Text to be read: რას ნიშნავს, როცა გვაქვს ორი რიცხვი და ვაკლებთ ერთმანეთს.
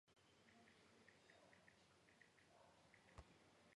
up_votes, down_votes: 1, 2